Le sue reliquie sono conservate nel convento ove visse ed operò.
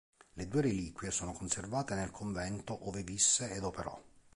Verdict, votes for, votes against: accepted, 2, 1